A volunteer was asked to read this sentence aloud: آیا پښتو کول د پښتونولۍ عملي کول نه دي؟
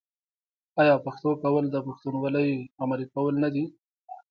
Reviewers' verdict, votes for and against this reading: rejected, 1, 2